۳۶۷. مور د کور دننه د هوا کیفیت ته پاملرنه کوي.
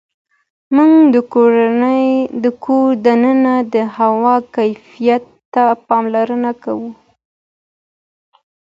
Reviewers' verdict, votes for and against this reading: rejected, 0, 2